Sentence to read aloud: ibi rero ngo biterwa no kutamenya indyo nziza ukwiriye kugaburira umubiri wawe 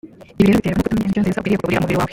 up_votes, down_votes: 0, 2